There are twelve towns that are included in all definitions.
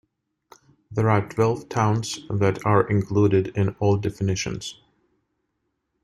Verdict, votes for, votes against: accepted, 2, 0